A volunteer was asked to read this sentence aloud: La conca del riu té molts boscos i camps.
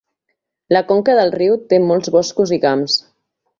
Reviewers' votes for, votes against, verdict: 2, 0, accepted